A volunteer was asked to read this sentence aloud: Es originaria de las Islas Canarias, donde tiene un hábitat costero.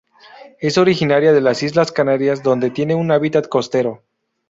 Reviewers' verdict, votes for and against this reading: accepted, 2, 0